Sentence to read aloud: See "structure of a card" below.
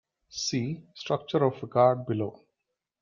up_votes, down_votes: 2, 0